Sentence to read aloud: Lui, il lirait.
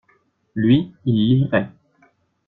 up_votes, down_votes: 0, 2